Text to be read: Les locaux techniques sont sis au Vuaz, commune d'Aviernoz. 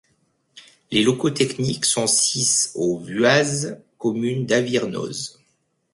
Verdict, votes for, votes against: accepted, 2, 1